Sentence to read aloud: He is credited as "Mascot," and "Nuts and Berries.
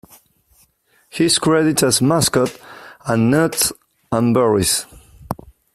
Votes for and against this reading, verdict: 2, 1, accepted